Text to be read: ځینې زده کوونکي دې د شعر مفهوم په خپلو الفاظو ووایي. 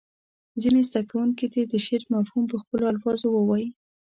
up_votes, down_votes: 3, 0